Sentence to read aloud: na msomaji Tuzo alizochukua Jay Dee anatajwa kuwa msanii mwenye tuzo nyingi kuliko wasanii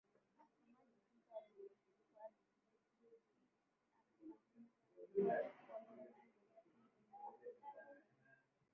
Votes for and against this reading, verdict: 0, 2, rejected